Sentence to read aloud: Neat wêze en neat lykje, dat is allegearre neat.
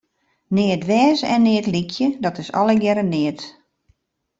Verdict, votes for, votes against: accepted, 2, 0